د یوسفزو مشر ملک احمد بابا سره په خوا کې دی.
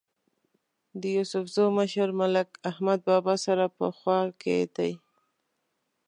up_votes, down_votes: 2, 0